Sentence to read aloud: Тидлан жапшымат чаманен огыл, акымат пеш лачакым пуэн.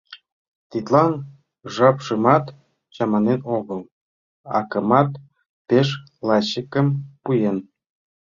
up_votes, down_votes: 1, 3